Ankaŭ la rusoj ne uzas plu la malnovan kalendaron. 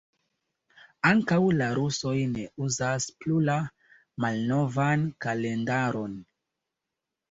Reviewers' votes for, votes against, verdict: 2, 0, accepted